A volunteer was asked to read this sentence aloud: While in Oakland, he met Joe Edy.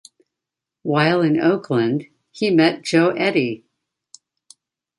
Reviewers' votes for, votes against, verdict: 2, 0, accepted